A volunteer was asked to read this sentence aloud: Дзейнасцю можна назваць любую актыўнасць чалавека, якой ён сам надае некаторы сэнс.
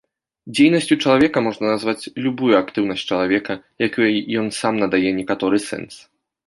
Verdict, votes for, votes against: rejected, 1, 3